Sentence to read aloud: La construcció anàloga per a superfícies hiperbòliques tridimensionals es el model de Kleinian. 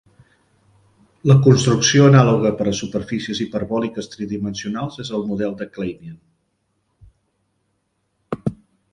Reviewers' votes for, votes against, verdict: 2, 0, accepted